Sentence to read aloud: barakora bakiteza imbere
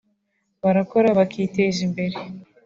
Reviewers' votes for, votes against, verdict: 2, 0, accepted